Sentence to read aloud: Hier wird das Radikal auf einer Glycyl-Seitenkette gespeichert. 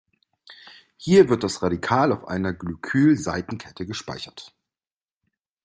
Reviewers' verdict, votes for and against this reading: accepted, 2, 0